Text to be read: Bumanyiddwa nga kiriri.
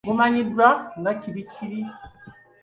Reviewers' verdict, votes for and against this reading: rejected, 0, 2